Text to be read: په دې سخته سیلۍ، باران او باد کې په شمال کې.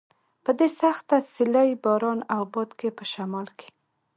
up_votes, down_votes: 2, 1